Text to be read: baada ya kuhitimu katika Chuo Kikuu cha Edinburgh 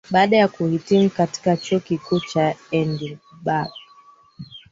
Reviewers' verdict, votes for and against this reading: rejected, 1, 3